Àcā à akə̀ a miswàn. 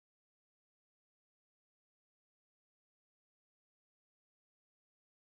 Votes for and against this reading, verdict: 0, 2, rejected